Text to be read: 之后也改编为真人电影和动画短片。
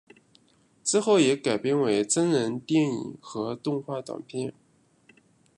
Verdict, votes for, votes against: rejected, 1, 2